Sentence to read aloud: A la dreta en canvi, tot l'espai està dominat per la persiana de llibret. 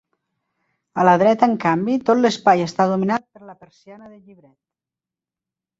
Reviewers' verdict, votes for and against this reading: rejected, 0, 2